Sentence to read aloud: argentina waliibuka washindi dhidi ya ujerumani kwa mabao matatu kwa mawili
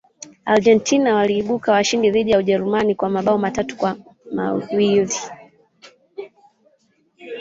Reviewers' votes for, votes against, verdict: 0, 3, rejected